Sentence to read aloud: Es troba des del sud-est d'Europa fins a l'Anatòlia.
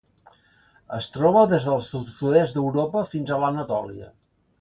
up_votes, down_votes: 1, 2